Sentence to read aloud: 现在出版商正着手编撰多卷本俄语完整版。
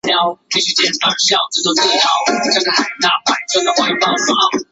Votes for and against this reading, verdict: 1, 2, rejected